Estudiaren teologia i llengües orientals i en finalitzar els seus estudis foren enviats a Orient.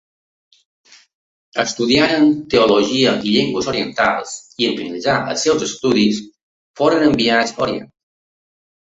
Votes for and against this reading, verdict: 2, 1, accepted